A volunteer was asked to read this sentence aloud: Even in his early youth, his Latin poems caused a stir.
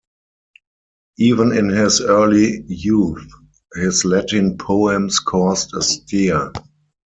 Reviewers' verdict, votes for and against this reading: rejected, 0, 4